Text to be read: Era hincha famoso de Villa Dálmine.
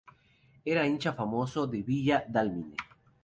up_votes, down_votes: 2, 2